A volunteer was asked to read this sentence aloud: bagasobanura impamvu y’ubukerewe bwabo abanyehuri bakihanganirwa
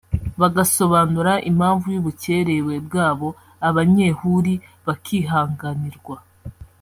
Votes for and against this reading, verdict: 0, 3, rejected